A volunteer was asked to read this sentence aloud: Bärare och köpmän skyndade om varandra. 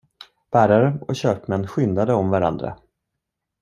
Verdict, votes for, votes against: accepted, 2, 0